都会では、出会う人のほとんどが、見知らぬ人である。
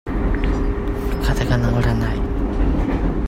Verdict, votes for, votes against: rejected, 0, 2